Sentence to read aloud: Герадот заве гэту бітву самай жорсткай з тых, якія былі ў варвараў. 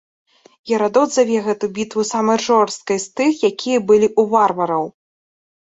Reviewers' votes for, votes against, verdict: 0, 2, rejected